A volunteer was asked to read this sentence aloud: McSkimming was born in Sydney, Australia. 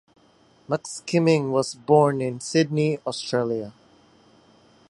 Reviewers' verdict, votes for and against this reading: accepted, 2, 1